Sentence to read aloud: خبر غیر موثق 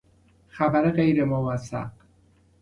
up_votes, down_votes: 2, 0